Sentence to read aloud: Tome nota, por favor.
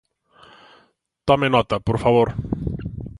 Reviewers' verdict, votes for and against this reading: accepted, 2, 0